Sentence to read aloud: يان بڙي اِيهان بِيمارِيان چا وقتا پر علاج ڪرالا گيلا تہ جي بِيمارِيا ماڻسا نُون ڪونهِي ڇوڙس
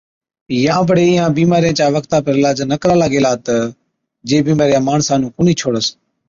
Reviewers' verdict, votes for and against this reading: accepted, 3, 0